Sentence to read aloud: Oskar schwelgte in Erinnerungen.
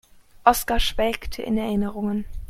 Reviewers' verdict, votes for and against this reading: accepted, 2, 0